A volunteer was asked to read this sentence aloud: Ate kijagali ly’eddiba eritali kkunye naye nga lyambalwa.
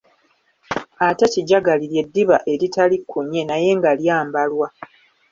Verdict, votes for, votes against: accepted, 2, 0